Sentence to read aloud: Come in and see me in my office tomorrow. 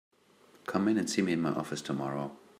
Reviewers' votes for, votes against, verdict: 2, 0, accepted